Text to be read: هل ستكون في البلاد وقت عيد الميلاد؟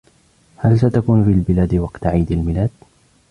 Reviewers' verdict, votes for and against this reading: rejected, 0, 2